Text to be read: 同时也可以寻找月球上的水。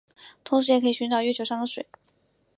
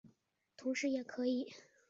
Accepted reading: first